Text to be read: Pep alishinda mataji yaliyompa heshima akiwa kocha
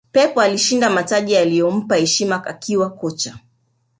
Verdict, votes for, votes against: rejected, 1, 2